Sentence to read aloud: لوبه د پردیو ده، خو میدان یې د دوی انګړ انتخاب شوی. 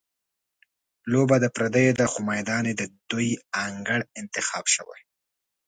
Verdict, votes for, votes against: accepted, 2, 1